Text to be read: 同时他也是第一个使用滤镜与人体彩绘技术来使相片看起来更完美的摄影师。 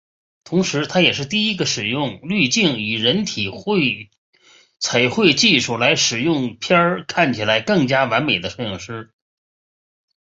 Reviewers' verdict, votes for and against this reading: rejected, 1, 4